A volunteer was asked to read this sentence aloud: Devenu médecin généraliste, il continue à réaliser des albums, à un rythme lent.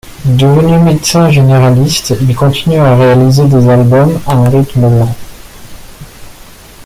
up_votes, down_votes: 2, 0